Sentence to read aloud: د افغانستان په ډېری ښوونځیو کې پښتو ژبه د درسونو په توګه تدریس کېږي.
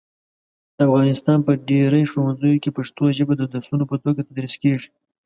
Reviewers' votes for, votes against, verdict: 2, 0, accepted